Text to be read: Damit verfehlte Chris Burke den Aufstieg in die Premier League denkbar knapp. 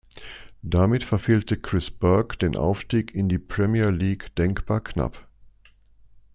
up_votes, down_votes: 2, 0